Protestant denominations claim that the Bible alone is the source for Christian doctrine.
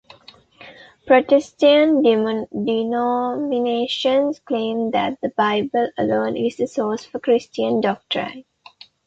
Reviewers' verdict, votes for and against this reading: rejected, 1, 2